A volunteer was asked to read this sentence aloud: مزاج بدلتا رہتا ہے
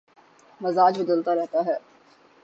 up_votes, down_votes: 42, 0